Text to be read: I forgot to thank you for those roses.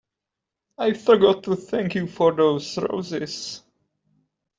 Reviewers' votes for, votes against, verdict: 3, 0, accepted